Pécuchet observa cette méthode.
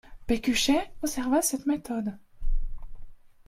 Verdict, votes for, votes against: rejected, 0, 2